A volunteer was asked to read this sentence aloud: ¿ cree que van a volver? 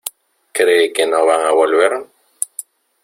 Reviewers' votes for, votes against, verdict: 0, 2, rejected